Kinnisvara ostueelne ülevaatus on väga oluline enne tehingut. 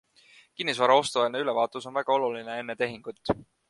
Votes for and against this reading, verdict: 4, 0, accepted